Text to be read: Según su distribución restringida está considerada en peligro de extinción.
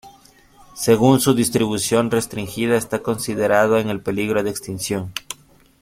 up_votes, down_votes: 0, 3